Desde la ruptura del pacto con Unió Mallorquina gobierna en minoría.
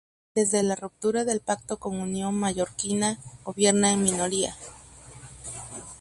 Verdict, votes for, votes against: accepted, 2, 0